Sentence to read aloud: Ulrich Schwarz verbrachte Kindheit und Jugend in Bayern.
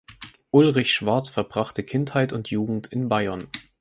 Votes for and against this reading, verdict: 4, 0, accepted